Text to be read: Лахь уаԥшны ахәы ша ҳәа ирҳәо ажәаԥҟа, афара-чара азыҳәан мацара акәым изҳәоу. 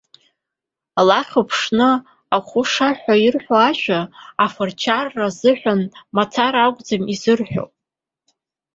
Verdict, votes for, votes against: rejected, 1, 2